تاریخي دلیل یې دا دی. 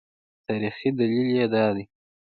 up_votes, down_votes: 2, 0